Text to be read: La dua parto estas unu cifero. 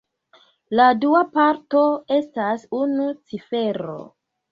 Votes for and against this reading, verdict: 2, 0, accepted